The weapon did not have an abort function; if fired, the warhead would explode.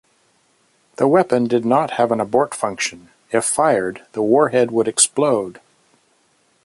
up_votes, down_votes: 0, 2